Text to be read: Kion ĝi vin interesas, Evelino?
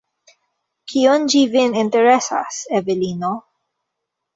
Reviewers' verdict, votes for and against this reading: accepted, 2, 1